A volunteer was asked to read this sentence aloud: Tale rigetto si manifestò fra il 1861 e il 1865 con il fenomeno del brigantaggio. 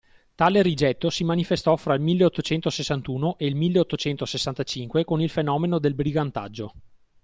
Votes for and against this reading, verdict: 0, 2, rejected